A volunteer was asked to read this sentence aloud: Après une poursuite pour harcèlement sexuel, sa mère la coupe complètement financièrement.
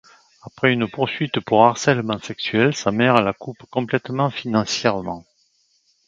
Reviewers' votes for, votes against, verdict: 2, 0, accepted